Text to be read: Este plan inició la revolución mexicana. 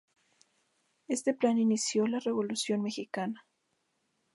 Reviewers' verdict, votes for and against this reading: accepted, 2, 0